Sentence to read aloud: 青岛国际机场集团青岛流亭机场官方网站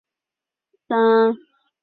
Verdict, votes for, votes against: rejected, 0, 4